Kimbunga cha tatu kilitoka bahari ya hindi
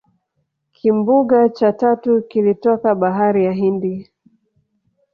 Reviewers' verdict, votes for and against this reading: rejected, 1, 2